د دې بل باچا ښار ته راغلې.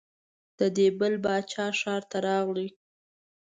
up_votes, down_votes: 2, 0